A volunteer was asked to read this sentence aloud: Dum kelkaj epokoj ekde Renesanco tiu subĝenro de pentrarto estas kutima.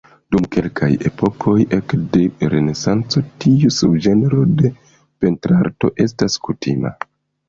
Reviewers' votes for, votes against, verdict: 0, 2, rejected